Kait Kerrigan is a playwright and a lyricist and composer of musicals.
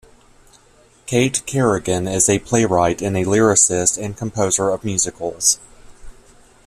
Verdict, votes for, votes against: accepted, 2, 0